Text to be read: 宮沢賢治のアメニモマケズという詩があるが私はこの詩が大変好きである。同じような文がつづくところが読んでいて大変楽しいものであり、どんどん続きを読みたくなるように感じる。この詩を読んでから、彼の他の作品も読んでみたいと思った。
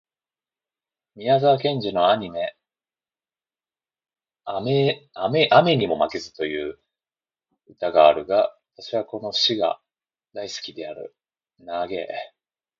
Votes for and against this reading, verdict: 0, 2, rejected